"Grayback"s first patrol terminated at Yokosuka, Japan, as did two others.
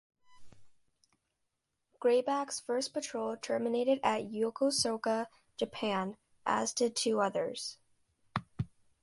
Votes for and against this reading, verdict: 2, 1, accepted